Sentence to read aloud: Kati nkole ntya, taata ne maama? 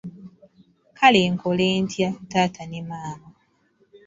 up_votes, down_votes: 1, 2